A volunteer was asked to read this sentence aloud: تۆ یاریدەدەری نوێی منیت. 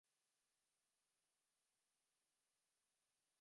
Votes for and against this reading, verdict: 0, 2, rejected